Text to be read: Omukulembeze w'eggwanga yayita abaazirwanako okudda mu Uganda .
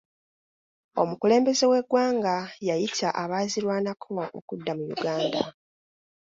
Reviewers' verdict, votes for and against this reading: rejected, 1, 2